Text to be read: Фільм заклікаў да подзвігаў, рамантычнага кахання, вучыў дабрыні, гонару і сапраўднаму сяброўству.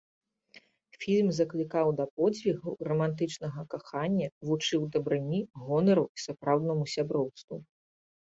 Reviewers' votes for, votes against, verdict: 2, 0, accepted